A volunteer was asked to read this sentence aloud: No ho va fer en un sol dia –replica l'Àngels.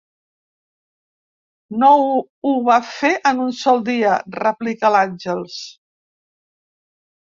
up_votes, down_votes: 1, 2